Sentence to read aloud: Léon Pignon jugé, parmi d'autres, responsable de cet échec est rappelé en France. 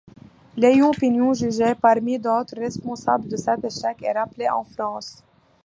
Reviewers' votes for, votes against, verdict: 2, 0, accepted